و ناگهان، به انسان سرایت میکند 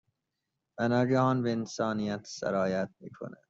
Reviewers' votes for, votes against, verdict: 0, 2, rejected